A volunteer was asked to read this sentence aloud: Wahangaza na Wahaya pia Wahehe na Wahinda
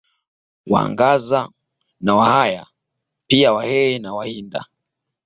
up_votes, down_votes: 2, 0